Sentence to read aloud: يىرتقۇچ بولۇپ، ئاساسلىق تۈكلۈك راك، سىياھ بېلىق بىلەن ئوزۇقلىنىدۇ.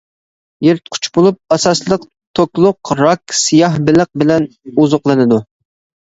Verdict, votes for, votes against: rejected, 0, 2